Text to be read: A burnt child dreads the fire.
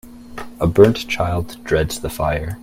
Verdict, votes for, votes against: accepted, 2, 0